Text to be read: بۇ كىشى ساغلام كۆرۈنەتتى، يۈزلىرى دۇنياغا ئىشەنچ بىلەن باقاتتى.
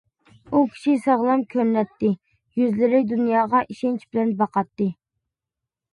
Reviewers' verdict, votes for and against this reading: accepted, 2, 0